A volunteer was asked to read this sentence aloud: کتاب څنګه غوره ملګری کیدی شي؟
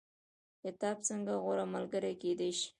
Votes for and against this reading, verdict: 2, 1, accepted